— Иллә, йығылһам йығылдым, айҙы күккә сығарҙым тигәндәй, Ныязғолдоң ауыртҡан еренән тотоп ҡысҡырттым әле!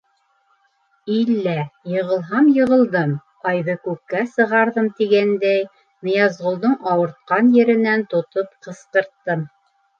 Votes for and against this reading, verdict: 0, 2, rejected